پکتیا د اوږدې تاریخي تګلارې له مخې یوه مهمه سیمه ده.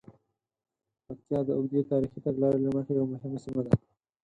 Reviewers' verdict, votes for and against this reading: accepted, 6, 0